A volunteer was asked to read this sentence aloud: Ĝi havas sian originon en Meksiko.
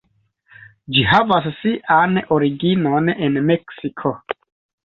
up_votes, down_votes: 2, 0